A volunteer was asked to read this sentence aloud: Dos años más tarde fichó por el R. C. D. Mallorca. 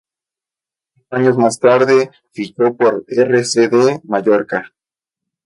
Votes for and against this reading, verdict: 0, 2, rejected